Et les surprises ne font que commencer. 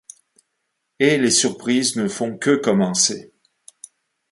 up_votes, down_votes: 2, 0